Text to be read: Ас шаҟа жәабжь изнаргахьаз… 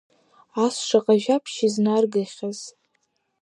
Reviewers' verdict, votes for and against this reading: accepted, 2, 0